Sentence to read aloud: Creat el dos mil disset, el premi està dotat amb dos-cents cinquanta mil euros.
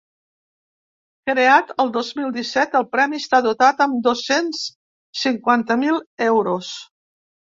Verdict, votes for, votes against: accepted, 2, 0